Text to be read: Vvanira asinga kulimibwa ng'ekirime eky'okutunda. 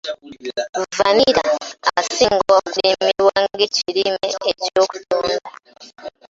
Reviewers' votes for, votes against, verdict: 2, 1, accepted